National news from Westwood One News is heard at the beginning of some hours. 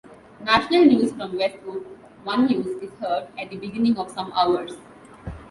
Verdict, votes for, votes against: accepted, 2, 0